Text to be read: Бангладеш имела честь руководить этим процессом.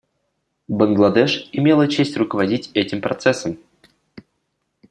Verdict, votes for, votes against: accepted, 2, 0